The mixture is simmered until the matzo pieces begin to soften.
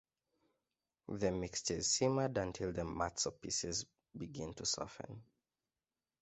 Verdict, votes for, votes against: accepted, 2, 0